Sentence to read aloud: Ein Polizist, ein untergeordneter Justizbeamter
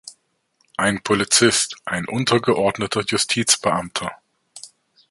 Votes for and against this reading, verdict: 1, 2, rejected